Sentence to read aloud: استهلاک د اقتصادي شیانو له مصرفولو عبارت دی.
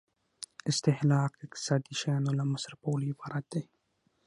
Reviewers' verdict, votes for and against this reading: rejected, 0, 6